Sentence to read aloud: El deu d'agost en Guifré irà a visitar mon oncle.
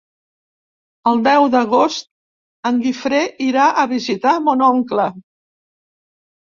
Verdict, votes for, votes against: accepted, 3, 0